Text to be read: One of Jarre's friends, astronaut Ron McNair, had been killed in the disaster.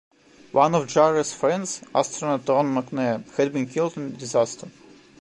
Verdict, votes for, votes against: rejected, 1, 2